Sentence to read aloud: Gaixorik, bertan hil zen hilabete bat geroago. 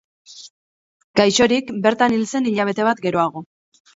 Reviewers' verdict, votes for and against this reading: accepted, 4, 0